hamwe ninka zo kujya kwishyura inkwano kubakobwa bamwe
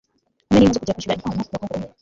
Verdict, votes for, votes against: rejected, 1, 3